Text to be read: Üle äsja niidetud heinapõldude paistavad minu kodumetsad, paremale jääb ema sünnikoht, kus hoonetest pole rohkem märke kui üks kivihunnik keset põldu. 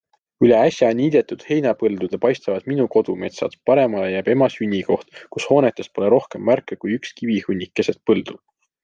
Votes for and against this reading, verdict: 2, 0, accepted